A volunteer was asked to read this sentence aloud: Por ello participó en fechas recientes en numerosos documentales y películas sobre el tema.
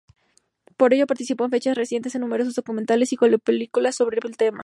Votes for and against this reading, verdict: 0, 2, rejected